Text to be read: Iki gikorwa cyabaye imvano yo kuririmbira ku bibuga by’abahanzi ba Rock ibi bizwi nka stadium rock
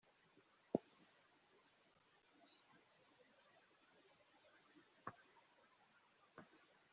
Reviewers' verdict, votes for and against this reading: rejected, 1, 3